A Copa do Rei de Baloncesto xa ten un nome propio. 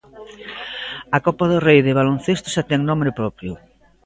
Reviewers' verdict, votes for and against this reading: rejected, 0, 2